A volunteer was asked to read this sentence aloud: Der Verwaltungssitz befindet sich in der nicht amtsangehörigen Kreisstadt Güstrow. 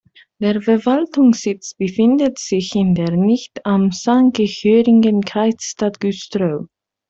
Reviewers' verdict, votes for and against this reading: accepted, 3, 2